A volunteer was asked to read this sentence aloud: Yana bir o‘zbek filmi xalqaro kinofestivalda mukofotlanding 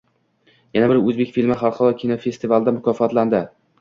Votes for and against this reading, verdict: 2, 0, accepted